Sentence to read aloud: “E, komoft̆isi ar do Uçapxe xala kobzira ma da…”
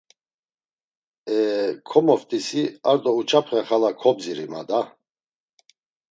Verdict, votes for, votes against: rejected, 1, 2